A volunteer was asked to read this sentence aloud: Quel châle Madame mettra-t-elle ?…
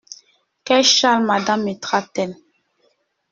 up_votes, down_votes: 0, 2